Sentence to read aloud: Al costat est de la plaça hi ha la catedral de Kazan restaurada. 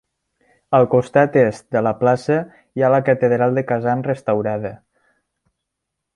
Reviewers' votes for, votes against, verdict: 3, 1, accepted